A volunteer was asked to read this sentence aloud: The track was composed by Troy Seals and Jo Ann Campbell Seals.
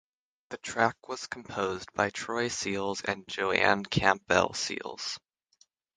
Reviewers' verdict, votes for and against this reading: accepted, 3, 0